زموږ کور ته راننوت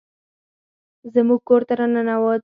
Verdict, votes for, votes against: rejected, 0, 4